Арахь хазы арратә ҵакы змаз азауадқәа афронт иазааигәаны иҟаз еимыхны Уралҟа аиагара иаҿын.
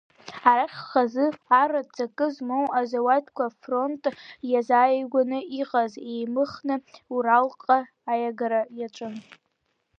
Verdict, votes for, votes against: rejected, 1, 2